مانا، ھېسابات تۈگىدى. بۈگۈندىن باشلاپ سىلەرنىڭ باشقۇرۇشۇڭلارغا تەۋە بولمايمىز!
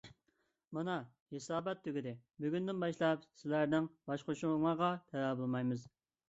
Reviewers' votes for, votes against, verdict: 2, 1, accepted